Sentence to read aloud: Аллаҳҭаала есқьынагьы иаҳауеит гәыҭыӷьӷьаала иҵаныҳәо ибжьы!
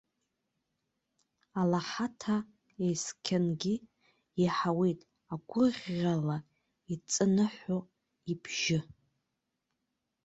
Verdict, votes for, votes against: rejected, 0, 2